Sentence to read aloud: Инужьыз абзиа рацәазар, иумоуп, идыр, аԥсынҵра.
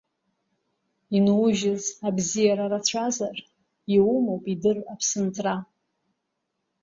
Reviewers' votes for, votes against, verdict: 0, 2, rejected